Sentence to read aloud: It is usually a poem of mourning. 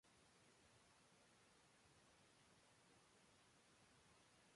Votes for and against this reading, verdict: 0, 2, rejected